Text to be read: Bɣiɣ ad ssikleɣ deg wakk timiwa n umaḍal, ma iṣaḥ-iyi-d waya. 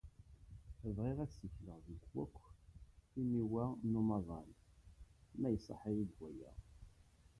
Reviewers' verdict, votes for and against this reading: rejected, 0, 2